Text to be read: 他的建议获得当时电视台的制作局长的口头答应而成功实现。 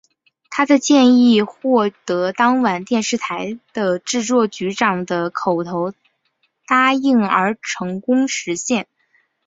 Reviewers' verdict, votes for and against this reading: rejected, 1, 2